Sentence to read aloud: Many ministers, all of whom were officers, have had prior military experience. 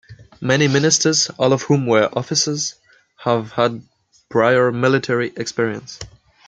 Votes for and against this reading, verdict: 2, 0, accepted